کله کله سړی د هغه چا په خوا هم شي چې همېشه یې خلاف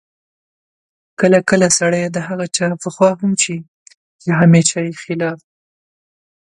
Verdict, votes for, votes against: accepted, 2, 0